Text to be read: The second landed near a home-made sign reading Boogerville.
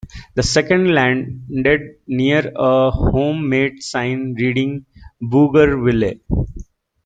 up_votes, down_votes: 1, 2